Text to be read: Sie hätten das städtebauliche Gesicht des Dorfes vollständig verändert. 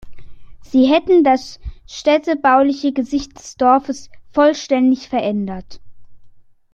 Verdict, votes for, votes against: accepted, 2, 0